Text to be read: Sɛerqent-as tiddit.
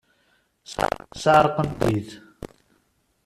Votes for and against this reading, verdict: 0, 2, rejected